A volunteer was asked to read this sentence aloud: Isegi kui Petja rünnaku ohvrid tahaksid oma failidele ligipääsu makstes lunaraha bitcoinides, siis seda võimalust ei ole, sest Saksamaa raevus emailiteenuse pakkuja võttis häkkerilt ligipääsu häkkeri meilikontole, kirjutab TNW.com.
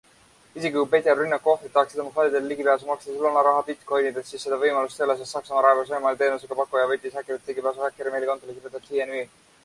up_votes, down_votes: 0, 2